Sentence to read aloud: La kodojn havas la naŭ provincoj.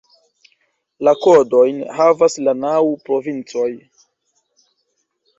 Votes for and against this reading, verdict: 2, 0, accepted